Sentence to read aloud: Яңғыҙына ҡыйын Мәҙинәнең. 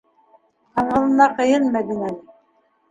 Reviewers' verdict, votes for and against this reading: rejected, 0, 2